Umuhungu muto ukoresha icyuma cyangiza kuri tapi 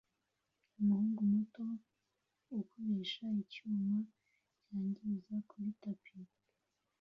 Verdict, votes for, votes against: rejected, 0, 2